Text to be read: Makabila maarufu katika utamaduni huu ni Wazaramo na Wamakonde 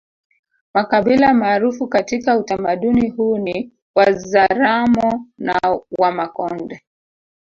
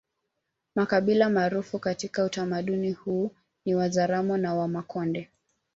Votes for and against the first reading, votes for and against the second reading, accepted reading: 2, 1, 0, 2, first